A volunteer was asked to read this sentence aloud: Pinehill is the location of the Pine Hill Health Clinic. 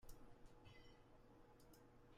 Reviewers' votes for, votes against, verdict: 0, 2, rejected